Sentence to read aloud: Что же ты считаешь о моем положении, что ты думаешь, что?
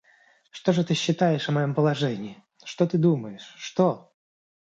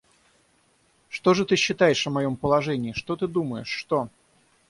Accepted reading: first